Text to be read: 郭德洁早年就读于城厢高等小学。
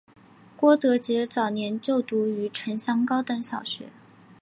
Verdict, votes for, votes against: accepted, 2, 1